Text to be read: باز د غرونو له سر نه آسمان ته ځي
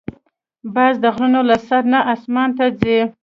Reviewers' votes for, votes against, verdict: 1, 2, rejected